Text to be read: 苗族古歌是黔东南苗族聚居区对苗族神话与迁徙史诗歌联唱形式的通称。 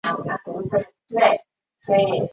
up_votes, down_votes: 0, 2